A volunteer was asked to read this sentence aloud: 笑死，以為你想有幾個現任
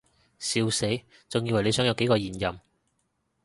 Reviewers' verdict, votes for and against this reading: rejected, 0, 2